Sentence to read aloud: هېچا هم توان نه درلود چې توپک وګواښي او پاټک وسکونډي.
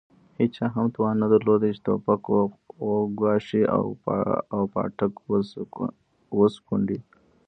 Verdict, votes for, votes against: rejected, 0, 2